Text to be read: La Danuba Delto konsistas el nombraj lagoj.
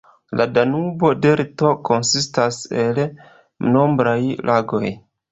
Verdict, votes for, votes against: rejected, 0, 2